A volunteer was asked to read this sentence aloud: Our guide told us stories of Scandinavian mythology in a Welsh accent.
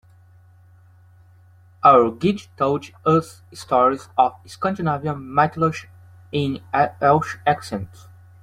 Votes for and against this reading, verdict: 0, 2, rejected